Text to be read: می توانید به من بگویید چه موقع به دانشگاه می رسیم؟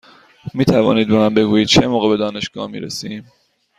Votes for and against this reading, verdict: 2, 0, accepted